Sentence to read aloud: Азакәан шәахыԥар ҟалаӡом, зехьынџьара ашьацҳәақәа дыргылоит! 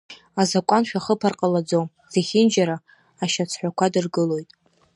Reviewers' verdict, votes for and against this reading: accepted, 2, 0